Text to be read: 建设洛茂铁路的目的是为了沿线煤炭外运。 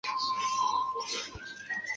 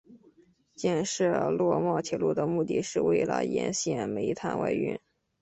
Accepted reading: second